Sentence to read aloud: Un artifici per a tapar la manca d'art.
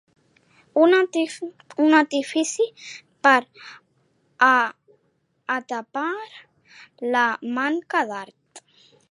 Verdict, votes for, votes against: rejected, 1, 2